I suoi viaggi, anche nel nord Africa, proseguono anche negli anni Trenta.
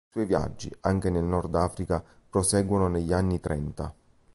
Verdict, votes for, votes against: rejected, 0, 2